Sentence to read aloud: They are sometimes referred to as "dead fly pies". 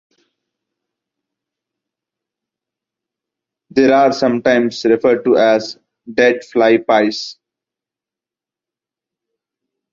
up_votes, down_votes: 2, 1